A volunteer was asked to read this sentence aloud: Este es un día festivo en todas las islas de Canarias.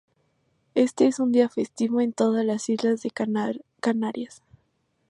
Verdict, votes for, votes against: rejected, 0, 2